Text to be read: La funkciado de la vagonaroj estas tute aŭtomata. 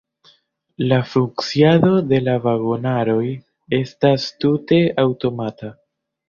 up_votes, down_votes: 0, 2